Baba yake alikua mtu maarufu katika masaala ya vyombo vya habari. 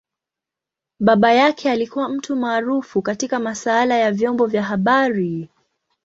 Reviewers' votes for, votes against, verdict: 2, 0, accepted